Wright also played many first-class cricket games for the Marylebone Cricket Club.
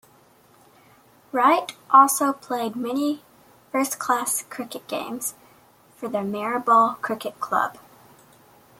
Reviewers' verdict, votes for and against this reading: accepted, 2, 0